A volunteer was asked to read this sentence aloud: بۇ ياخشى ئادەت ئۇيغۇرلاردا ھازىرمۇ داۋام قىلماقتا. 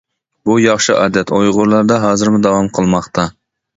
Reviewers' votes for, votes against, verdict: 2, 0, accepted